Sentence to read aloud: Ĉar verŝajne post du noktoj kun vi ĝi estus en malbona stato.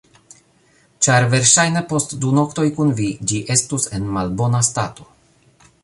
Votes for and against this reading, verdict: 2, 0, accepted